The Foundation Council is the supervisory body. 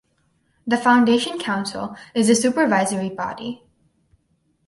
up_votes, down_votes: 4, 0